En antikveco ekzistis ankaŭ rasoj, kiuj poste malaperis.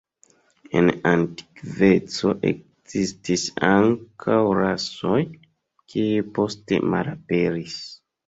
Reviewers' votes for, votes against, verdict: 1, 2, rejected